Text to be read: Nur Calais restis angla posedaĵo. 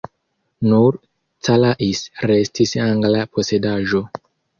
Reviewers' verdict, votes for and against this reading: accepted, 2, 0